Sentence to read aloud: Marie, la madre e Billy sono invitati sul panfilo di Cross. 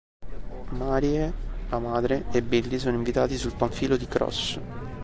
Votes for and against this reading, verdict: 0, 2, rejected